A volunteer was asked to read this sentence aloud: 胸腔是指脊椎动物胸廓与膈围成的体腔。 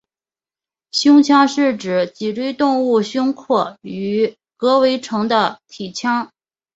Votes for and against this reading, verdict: 2, 1, accepted